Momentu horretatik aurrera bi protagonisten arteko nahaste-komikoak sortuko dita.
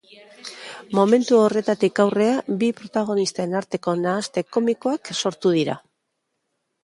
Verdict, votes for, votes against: rejected, 0, 3